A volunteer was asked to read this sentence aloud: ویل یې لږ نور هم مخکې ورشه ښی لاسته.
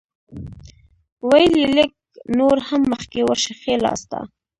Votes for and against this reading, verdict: 2, 0, accepted